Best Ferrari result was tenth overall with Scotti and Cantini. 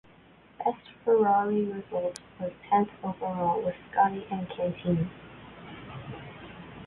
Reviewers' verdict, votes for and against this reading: rejected, 1, 2